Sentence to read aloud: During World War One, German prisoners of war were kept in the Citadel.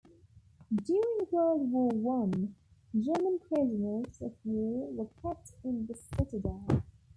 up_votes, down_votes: 1, 2